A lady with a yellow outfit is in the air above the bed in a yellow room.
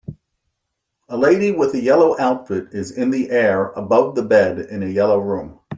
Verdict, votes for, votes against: accepted, 2, 0